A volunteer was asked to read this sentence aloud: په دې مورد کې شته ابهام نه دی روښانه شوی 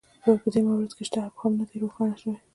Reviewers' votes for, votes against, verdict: 0, 2, rejected